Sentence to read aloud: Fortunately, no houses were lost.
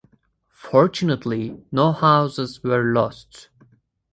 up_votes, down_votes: 2, 2